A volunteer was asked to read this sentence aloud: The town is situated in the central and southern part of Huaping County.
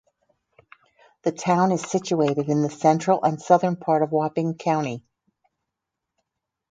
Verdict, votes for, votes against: accepted, 2, 0